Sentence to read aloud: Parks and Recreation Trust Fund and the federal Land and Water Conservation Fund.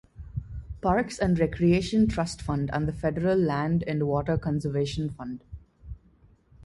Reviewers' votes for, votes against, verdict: 2, 0, accepted